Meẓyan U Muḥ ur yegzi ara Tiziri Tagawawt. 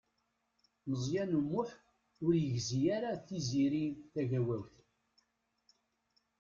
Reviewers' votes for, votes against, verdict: 1, 2, rejected